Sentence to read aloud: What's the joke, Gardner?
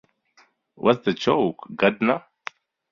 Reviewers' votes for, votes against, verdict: 0, 2, rejected